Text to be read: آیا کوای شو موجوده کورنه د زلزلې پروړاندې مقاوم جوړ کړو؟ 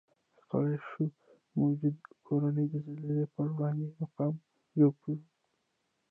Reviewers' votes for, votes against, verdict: 0, 2, rejected